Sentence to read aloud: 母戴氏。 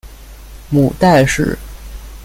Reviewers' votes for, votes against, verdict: 2, 0, accepted